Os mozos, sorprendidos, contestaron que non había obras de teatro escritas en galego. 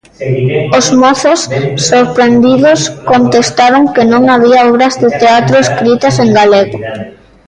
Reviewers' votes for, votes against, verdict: 0, 2, rejected